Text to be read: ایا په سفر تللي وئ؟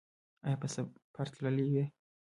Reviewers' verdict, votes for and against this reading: accepted, 2, 1